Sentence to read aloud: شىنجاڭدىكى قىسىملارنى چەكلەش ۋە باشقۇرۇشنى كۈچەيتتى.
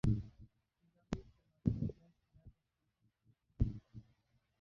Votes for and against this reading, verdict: 0, 2, rejected